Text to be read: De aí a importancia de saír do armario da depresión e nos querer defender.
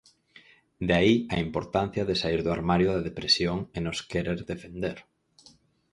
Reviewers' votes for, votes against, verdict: 4, 0, accepted